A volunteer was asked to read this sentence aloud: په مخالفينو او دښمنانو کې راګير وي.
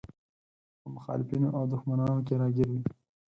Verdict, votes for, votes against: accepted, 4, 0